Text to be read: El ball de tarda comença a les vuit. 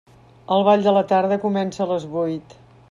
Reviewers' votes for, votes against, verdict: 0, 2, rejected